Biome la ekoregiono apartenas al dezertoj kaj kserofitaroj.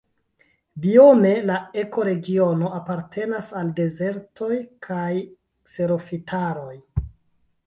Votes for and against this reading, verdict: 0, 2, rejected